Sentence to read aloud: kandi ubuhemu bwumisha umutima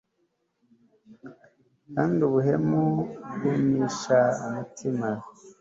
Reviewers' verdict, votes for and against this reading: accepted, 2, 0